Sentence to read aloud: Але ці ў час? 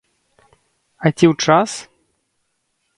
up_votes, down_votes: 0, 2